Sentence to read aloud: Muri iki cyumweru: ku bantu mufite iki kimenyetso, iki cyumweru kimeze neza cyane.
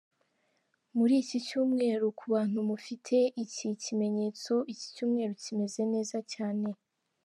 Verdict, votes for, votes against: accepted, 4, 0